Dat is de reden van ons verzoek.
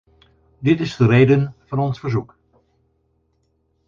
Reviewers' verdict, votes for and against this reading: rejected, 2, 4